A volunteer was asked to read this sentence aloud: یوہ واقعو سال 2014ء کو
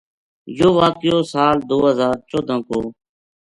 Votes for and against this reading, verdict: 0, 2, rejected